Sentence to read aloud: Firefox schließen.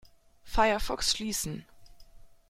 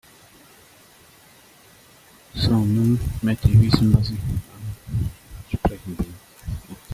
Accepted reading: first